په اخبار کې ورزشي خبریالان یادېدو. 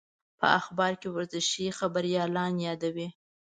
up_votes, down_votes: 2, 0